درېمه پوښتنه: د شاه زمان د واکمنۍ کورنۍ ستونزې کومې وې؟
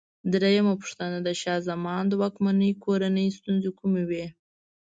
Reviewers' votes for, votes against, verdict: 2, 0, accepted